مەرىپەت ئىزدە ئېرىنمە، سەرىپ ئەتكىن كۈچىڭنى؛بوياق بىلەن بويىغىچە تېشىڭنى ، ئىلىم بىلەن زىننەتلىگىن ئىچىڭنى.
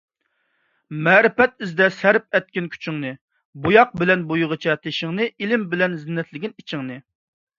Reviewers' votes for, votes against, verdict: 0, 2, rejected